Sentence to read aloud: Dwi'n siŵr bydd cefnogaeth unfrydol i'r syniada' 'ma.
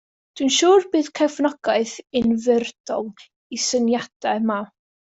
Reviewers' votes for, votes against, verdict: 1, 2, rejected